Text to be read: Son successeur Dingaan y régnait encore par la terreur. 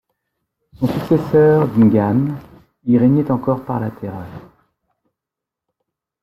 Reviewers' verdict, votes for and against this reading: accepted, 2, 0